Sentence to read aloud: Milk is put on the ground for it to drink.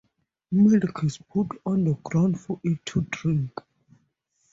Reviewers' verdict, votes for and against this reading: accepted, 2, 0